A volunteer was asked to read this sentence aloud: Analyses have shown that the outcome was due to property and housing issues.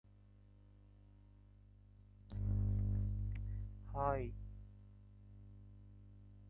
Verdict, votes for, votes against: rejected, 0, 3